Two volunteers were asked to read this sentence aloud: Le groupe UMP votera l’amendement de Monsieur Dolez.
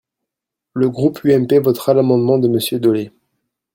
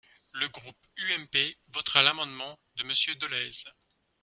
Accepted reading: first